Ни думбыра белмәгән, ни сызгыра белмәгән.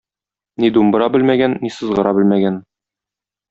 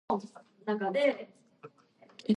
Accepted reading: first